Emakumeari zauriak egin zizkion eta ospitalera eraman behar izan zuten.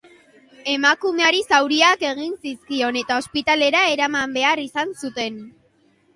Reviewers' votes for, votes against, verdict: 2, 0, accepted